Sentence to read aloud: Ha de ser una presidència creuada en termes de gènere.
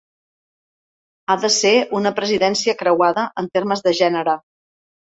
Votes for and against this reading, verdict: 4, 0, accepted